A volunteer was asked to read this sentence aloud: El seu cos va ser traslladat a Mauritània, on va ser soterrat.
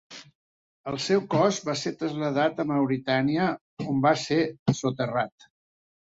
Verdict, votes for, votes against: rejected, 2, 3